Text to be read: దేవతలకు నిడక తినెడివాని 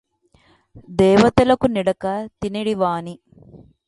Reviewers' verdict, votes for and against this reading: accepted, 2, 0